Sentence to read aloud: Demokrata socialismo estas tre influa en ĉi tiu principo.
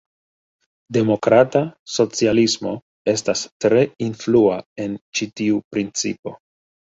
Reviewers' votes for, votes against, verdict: 1, 2, rejected